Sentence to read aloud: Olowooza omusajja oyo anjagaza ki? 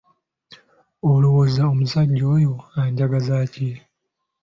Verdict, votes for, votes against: accepted, 5, 0